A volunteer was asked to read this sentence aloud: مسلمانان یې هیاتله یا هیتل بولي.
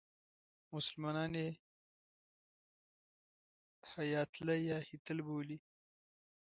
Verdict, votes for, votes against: accepted, 2, 0